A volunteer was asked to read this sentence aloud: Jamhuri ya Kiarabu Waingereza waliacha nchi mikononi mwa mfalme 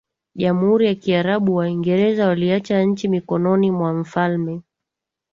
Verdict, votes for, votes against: accepted, 2, 0